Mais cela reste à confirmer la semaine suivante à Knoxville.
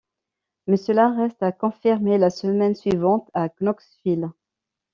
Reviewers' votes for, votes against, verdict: 2, 0, accepted